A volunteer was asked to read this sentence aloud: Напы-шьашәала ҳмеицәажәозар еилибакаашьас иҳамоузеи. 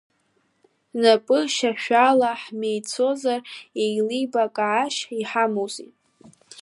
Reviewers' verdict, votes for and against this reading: accepted, 2, 1